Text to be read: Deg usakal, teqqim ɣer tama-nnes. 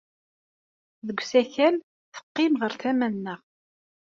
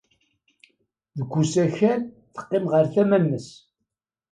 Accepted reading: second